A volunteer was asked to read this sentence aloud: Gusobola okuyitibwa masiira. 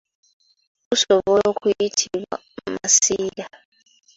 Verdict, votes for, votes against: rejected, 0, 2